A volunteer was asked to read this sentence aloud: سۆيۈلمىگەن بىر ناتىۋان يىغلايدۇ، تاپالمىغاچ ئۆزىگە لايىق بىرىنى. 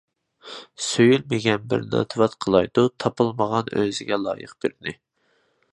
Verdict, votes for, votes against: rejected, 0, 2